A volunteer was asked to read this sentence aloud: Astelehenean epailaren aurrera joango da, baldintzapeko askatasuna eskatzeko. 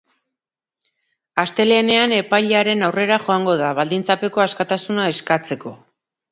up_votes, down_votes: 4, 1